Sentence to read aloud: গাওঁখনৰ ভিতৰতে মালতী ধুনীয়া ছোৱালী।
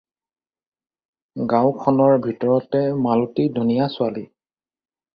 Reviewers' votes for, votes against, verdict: 4, 0, accepted